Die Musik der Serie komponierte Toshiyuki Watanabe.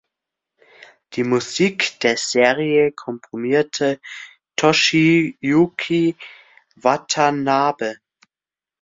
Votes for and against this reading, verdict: 2, 1, accepted